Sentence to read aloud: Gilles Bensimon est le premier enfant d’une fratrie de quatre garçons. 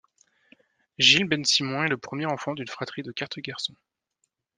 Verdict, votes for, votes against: accepted, 2, 0